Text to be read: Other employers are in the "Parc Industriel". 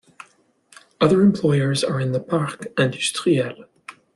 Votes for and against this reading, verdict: 2, 0, accepted